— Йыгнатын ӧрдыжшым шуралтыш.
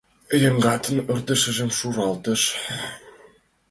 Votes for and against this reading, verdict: 0, 2, rejected